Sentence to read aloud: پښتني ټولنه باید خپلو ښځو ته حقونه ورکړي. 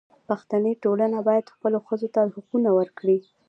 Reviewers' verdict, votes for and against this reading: accepted, 2, 0